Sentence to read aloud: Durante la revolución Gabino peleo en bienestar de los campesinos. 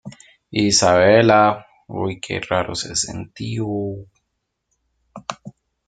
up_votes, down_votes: 0, 2